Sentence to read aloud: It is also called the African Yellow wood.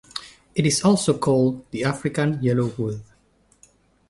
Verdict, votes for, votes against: accepted, 2, 0